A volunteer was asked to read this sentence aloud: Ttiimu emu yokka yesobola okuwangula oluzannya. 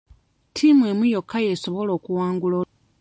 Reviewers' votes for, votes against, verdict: 0, 2, rejected